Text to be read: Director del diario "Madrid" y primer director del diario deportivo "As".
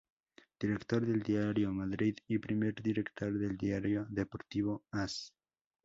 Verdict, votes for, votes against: accepted, 2, 0